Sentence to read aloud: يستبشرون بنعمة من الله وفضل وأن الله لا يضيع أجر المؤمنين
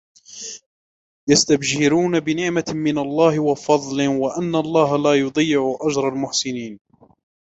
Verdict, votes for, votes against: rejected, 1, 2